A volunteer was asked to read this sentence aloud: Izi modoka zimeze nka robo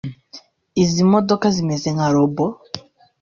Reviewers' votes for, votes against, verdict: 2, 1, accepted